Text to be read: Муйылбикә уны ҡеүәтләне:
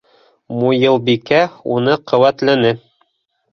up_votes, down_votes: 2, 0